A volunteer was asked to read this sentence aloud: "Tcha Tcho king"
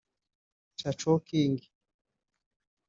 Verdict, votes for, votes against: rejected, 1, 2